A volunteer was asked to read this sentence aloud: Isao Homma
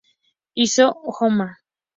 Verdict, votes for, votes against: rejected, 0, 2